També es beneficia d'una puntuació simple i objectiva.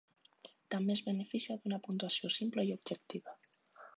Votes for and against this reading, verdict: 1, 2, rejected